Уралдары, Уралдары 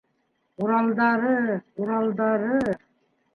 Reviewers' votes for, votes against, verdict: 3, 2, accepted